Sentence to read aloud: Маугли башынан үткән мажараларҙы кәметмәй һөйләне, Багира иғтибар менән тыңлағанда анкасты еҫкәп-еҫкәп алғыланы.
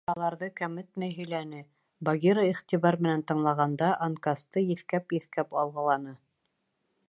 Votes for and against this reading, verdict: 1, 2, rejected